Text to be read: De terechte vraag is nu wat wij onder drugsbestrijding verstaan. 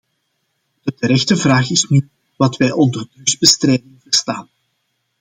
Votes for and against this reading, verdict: 0, 2, rejected